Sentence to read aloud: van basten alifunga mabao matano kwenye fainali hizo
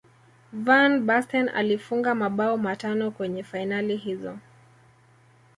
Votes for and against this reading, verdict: 2, 0, accepted